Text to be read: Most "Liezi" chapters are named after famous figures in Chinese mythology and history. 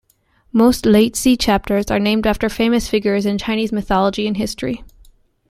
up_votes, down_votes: 2, 0